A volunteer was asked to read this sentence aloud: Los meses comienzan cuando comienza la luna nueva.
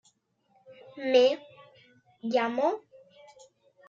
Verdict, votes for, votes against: rejected, 0, 2